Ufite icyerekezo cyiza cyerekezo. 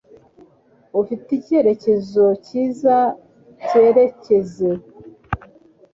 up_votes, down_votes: 2, 0